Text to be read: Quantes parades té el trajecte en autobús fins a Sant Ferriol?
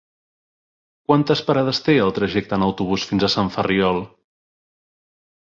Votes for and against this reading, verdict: 3, 0, accepted